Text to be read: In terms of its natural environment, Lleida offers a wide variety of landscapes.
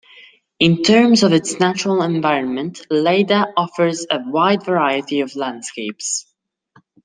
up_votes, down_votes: 2, 0